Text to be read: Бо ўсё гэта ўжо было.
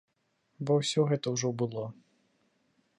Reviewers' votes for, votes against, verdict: 2, 0, accepted